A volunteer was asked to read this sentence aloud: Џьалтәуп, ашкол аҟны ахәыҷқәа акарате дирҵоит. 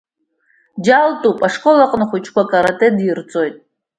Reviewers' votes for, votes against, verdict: 2, 0, accepted